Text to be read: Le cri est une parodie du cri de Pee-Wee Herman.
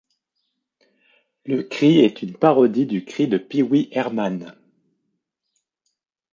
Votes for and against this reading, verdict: 2, 0, accepted